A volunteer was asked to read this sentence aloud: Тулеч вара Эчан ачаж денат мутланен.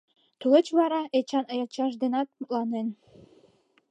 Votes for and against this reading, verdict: 0, 2, rejected